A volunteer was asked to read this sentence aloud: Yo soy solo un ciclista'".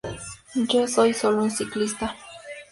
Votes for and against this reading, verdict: 2, 0, accepted